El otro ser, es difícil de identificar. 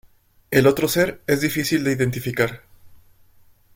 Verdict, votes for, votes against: accepted, 2, 0